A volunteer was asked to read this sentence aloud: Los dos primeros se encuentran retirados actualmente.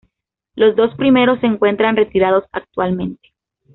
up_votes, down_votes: 2, 0